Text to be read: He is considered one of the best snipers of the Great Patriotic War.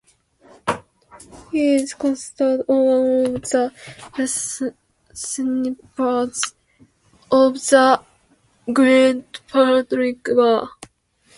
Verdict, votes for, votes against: rejected, 0, 2